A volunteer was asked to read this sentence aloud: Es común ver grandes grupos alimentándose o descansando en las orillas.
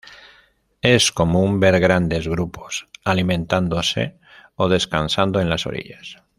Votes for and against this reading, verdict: 2, 0, accepted